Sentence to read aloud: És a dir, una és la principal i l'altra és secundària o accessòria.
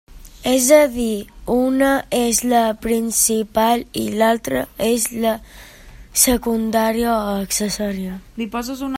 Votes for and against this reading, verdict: 0, 2, rejected